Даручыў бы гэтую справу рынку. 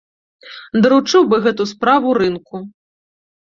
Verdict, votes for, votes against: rejected, 1, 2